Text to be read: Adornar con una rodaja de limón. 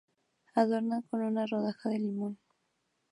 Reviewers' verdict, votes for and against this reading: accepted, 2, 0